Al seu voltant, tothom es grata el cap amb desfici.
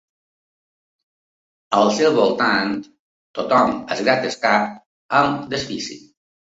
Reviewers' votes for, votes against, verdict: 1, 2, rejected